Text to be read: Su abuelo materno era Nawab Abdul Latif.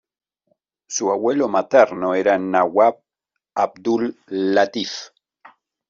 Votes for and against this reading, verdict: 2, 0, accepted